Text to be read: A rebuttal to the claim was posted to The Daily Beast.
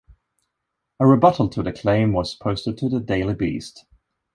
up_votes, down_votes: 2, 0